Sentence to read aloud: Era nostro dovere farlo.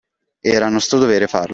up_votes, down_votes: 1, 2